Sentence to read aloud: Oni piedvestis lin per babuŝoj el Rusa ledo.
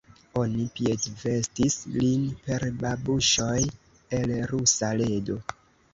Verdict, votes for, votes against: accepted, 2, 1